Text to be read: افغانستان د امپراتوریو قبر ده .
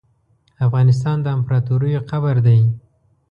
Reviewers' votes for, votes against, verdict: 2, 0, accepted